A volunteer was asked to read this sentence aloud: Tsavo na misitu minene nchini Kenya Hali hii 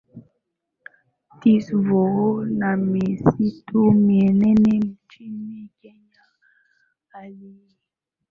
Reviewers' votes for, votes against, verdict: 2, 0, accepted